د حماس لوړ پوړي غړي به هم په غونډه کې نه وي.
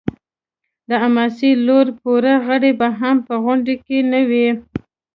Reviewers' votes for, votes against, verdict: 2, 0, accepted